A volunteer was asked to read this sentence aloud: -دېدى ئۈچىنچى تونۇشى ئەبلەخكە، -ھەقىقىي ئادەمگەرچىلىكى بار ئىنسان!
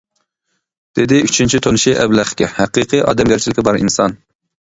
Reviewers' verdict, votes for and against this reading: accepted, 2, 0